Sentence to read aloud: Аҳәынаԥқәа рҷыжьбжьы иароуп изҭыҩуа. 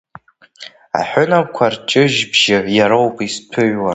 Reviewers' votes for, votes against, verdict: 2, 0, accepted